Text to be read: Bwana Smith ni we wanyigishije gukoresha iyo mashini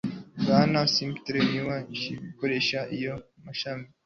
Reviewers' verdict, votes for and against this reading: rejected, 1, 2